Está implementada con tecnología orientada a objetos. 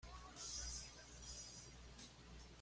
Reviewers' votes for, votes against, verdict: 0, 2, rejected